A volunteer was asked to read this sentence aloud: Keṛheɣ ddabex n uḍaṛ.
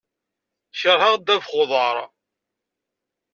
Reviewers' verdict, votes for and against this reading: accepted, 2, 0